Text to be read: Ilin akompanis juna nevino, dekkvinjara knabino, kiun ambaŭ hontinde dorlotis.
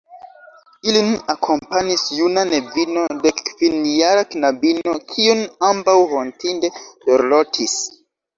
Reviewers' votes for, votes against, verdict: 0, 2, rejected